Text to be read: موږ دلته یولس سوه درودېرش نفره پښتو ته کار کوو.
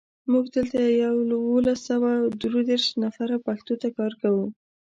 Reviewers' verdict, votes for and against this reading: accepted, 2, 0